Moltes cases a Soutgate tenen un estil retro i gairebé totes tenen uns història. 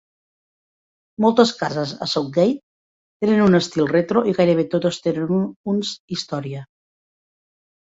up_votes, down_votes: 3, 0